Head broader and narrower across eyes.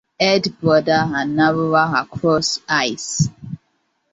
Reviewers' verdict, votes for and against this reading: accepted, 2, 1